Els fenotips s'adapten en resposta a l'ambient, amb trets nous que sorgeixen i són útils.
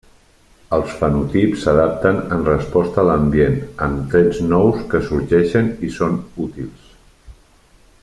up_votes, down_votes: 3, 0